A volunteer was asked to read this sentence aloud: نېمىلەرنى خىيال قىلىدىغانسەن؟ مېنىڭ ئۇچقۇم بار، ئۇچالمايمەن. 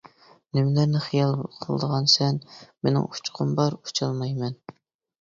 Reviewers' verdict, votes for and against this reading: accepted, 2, 0